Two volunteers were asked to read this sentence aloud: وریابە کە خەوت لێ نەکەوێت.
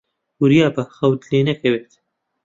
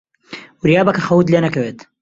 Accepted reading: second